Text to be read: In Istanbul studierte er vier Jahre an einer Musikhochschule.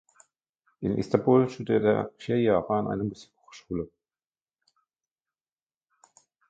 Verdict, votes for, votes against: accepted, 2, 1